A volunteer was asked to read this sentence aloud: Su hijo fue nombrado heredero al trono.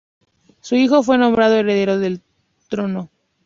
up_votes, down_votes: 0, 2